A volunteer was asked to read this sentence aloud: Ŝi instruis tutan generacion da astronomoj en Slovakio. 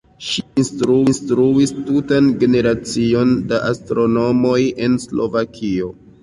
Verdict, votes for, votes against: rejected, 0, 2